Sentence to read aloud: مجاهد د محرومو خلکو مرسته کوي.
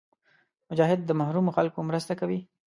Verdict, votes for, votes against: accepted, 2, 0